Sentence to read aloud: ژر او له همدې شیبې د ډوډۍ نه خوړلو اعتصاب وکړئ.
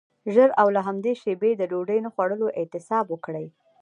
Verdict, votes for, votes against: accepted, 2, 1